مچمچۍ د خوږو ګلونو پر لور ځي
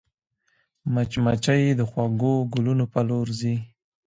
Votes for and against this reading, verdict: 2, 0, accepted